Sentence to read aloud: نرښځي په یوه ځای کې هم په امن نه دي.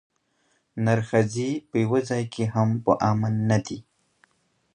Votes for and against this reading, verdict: 3, 0, accepted